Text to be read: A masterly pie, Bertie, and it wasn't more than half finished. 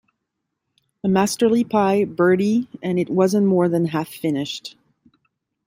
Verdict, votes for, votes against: accepted, 2, 1